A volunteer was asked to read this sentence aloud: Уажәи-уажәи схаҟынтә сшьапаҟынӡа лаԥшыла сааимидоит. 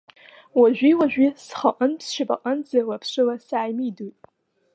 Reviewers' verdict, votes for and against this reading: accepted, 2, 0